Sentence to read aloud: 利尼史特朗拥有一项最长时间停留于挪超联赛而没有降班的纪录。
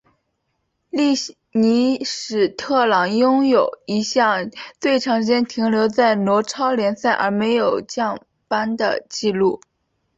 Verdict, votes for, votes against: accepted, 2, 0